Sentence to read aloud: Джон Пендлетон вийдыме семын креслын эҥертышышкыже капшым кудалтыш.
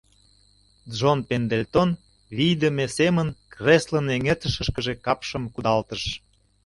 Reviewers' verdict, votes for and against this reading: rejected, 0, 2